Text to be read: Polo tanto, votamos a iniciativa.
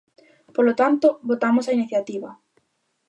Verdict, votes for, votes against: accepted, 2, 0